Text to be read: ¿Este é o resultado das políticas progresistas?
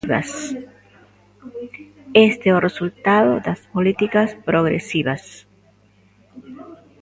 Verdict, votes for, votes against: rejected, 0, 2